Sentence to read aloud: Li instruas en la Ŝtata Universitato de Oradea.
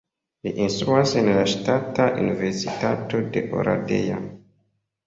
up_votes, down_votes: 2, 1